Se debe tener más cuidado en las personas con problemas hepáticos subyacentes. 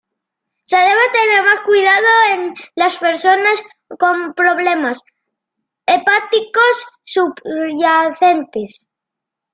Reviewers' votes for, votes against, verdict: 2, 0, accepted